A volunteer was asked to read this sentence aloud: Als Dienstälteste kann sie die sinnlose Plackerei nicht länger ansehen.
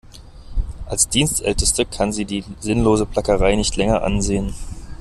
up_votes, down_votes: 2, 0